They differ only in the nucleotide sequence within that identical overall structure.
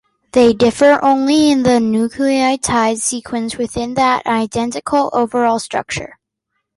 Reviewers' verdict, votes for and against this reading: accepted, 2, 0